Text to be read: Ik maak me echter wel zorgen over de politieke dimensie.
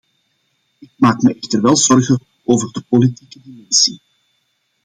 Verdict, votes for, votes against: rejected, 1, 2